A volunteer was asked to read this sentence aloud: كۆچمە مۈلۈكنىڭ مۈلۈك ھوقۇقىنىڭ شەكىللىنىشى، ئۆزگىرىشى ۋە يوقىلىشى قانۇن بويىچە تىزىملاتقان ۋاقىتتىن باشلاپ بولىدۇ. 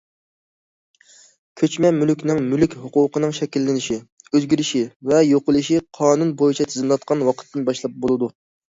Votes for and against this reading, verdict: 2, 0, accepted